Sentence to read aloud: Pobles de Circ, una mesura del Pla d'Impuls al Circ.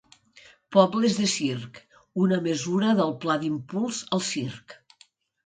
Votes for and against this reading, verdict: 2, 0, accepted